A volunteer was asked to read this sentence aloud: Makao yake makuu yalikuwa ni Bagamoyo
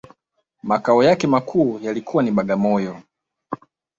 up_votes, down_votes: 2, 0